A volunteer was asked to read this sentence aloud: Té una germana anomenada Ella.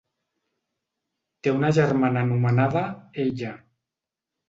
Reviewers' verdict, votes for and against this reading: accepted, 3, 1